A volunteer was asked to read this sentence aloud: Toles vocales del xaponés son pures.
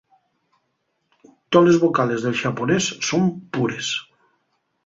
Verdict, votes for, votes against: accepted, 4, 0